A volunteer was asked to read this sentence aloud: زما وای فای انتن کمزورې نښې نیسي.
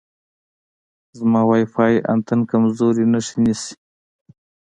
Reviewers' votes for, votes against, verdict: 2, 0, accepted